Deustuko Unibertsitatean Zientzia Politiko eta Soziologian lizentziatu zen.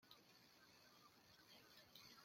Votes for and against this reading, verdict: 0, 2, rejected